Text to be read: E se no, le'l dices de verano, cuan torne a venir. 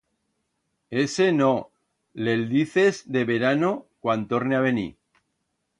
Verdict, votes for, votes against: rejected, 1, 2